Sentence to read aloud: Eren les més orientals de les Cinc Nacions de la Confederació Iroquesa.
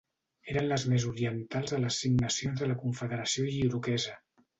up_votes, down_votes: 2, 0